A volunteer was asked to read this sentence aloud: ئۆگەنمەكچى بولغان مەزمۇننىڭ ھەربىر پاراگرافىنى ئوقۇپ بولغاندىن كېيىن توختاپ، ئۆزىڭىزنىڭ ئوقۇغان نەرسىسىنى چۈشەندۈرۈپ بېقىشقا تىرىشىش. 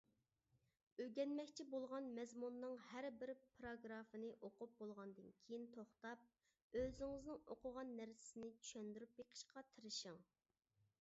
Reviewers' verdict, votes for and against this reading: rejected, 1, 2